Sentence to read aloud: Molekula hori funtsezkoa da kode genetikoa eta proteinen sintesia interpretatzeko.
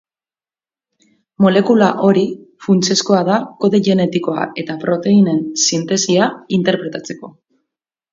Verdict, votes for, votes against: accepted, 4, 0